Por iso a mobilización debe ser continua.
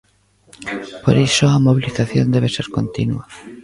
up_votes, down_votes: 2, 0